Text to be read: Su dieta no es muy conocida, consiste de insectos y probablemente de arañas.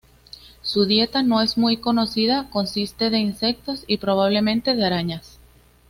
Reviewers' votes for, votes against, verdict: 2, 0, accepted